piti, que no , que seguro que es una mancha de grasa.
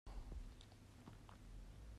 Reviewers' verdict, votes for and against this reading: rejected, 1, 2